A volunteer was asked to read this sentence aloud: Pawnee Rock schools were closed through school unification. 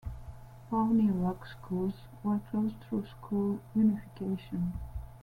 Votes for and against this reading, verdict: 2, 0, accepted